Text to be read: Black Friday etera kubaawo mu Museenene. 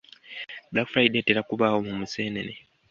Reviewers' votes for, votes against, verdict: 2, 0, accepted